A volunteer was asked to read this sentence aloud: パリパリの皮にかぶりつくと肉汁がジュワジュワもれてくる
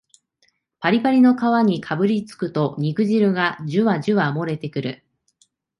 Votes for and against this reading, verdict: 7, 0, accepted